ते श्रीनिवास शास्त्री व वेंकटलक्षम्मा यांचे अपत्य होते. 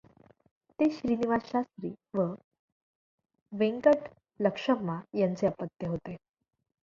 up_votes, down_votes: 0, 2